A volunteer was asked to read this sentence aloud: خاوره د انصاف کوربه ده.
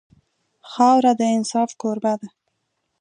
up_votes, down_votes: 2, 0